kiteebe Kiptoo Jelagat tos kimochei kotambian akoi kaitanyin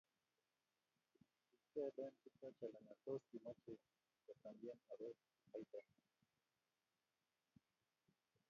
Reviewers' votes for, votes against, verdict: 0, 2, rejected